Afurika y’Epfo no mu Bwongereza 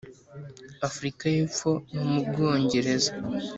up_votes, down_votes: 3, 0